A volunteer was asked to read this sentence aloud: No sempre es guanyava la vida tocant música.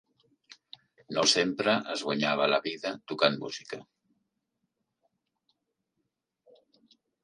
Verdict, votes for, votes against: accepted, 3, 0